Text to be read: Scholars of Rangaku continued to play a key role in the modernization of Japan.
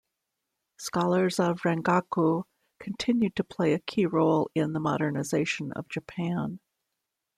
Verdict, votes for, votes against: accepted, 2, 0